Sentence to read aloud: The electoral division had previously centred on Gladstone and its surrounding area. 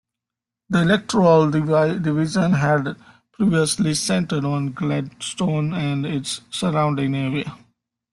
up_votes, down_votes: 1, 2